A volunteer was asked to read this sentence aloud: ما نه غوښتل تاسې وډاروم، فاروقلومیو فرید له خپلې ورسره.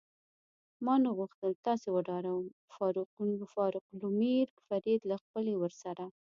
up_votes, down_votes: 0, 2